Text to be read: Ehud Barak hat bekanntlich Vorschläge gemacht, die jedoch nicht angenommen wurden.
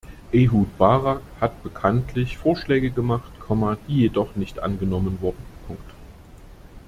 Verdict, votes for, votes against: rejected, 0, 2